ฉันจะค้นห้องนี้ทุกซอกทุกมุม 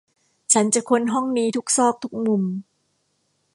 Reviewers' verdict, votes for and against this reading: accepted, 2, 0